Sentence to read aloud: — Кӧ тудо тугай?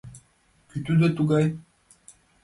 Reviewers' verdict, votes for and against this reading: accepted, 2, 0